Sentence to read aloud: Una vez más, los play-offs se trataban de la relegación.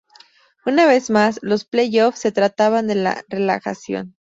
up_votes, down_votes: 2, 0